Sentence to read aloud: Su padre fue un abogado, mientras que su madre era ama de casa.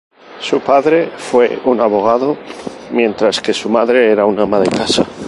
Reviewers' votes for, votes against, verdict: 0, 2, rejected